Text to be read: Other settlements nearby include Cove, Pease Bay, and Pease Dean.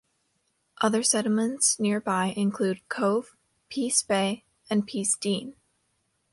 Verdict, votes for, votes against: accepted, 2, 0